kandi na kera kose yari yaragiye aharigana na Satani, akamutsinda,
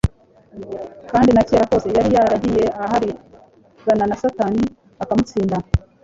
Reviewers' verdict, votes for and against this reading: rejected, 1, 2